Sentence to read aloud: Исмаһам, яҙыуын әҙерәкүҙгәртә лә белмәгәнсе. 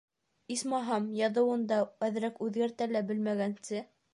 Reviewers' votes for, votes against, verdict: 2, 1, accepted